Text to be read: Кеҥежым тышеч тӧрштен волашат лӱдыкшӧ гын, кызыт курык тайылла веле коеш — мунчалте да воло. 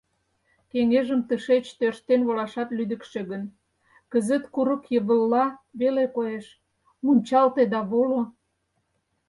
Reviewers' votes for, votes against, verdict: 0, 4, rejected